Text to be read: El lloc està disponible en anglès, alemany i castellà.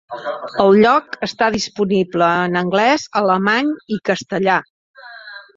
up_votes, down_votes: 3, 2